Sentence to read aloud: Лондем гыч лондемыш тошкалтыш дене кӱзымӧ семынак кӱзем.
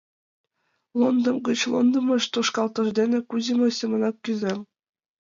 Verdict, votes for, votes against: rejected, 1, 3